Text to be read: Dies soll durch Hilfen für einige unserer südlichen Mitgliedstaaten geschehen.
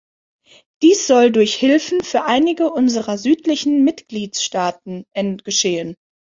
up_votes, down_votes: 0, 3